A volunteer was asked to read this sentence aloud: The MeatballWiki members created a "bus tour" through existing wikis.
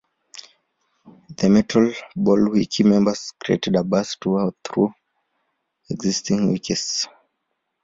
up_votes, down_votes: 1, 2